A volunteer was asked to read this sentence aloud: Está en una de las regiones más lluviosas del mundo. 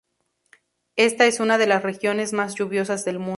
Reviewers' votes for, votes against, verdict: 0, 2, rejected